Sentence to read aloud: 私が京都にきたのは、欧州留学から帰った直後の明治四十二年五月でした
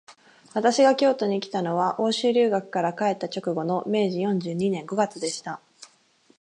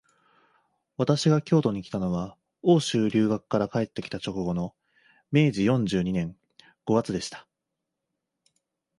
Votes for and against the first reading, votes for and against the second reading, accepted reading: 14, 0, 0, 2, first